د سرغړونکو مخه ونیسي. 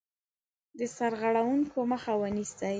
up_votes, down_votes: 2, 0